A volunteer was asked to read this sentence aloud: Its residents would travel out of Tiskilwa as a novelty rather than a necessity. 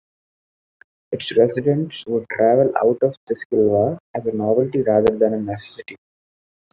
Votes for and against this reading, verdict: 0, 2, rejected